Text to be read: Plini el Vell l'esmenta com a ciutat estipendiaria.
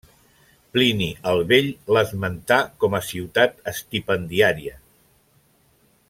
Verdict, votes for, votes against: rejected, 1, 2